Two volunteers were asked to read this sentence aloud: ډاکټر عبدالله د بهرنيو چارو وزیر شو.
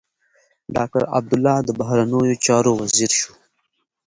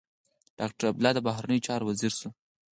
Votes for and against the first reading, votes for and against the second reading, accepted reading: 2, 0, 2, 4, first